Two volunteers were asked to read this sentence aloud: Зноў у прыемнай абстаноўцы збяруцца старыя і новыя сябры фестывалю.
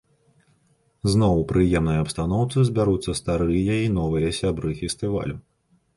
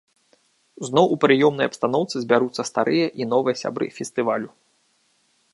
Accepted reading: first